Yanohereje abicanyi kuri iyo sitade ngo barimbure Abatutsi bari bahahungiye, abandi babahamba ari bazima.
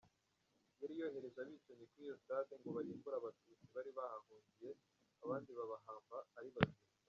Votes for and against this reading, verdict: 0, 2, rejected